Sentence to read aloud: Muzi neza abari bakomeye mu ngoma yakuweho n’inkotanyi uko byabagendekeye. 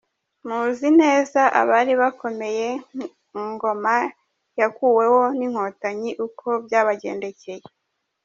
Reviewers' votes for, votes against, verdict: 2, 0, accepted